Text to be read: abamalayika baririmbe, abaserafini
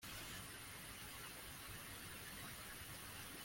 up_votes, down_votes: 1, 2